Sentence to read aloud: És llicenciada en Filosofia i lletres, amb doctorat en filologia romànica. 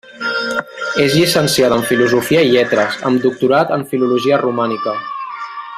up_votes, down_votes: 1, 2